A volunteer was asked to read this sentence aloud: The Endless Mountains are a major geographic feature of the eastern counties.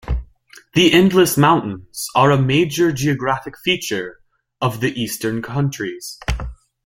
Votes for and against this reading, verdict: 1, 2, rejected